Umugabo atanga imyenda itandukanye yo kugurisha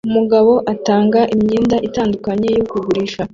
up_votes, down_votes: 2, 1